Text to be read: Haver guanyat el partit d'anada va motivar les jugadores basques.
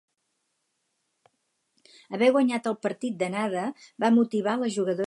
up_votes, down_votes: 0, 2